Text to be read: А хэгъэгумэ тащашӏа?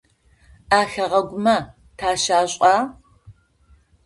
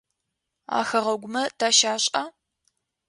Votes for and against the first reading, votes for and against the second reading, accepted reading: 0, 2, 2, 0, second